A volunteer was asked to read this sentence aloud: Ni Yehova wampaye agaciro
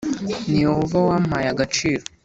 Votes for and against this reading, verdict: 2, 0, accepted